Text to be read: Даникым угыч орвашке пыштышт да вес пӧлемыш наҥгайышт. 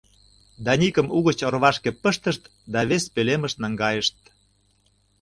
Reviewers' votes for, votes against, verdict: 2, 0, accepted